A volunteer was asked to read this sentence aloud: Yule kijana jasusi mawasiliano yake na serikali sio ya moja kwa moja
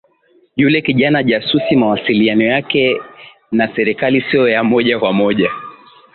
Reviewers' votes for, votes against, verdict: 8, 1, accepted